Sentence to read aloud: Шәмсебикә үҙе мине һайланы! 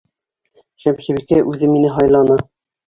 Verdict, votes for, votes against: accepted, 2, 0